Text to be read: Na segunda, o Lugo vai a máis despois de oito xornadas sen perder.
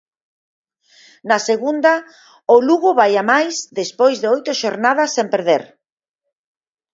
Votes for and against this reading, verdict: 6, 0, accepted